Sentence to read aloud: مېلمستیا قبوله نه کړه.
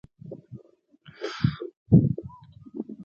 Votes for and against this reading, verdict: 0, 2, rejected